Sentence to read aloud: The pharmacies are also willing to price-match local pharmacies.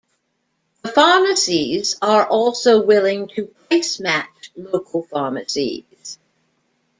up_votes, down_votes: 1, 2